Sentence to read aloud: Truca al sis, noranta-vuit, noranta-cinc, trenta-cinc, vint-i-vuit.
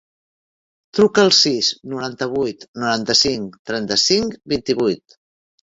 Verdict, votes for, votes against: accepted, 2, 0